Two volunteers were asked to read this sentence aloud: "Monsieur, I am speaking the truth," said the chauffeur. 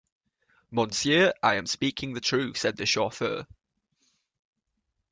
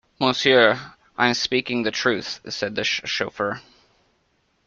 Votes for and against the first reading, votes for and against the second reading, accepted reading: 2, 0, 0, 2, first